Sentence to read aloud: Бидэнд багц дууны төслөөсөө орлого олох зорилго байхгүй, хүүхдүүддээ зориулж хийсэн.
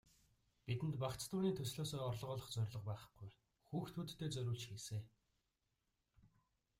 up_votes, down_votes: 2, 1